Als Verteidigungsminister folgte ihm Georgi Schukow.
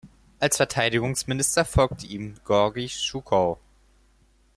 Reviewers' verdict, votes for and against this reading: rejected, 0, 4